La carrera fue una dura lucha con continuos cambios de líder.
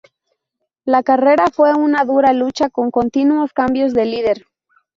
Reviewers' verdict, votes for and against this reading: rejected, 0, 2